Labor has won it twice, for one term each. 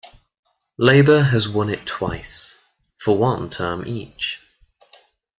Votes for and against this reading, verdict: 2, 0, accepted